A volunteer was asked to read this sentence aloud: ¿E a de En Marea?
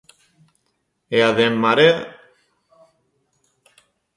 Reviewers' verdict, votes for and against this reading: accepted, 2, 0